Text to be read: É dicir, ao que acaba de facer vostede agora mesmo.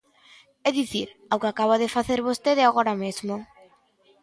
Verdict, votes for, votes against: accepted, 2, 0